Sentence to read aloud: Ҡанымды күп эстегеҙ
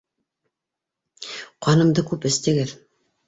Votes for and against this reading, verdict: 2, 0, accepted